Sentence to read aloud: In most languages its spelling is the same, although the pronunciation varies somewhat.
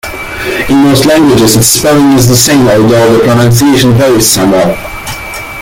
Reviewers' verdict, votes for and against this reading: accepted, 2, 1